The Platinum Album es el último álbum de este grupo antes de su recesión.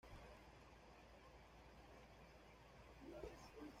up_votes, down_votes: 0, 2